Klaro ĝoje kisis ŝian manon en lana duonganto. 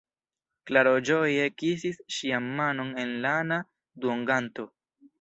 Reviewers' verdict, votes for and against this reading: accepted, 2, 0